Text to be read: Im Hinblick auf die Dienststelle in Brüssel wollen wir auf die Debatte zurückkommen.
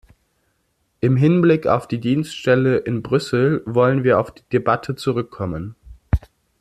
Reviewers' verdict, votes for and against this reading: accepted, 2, 0